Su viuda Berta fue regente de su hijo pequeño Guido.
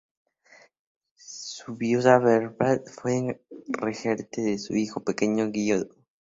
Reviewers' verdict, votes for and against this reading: accepted, 2, 0